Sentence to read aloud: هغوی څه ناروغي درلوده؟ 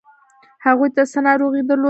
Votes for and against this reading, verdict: 2, 0, accepted